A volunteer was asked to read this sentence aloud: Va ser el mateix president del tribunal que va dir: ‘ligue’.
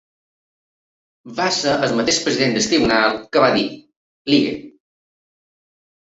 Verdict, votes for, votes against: rejected, 0, 2